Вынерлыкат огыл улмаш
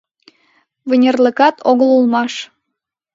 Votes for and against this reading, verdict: 2, 0, accepted